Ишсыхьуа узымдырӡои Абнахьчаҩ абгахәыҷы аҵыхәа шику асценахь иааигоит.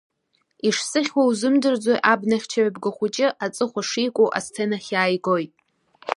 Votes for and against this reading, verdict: 2, 0, accepted